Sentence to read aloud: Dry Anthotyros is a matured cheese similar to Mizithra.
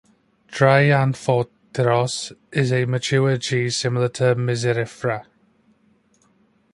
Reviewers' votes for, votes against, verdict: 1, 2, rejected